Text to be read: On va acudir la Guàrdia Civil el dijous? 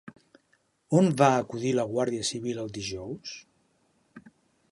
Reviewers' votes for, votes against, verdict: 3, 0, accepted